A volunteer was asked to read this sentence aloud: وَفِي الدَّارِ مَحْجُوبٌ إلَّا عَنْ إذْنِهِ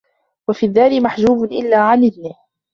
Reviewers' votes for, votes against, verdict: 3, 1, accepted